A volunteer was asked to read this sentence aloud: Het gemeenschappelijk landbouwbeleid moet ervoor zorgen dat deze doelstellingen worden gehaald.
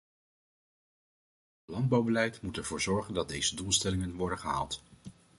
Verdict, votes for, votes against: rejected, 1, 2